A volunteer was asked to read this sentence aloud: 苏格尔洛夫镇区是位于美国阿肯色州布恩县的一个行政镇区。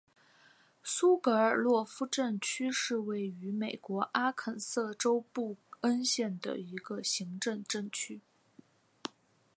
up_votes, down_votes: 0, 2